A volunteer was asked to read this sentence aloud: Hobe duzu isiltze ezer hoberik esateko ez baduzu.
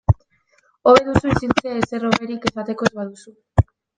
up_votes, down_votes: 0, 2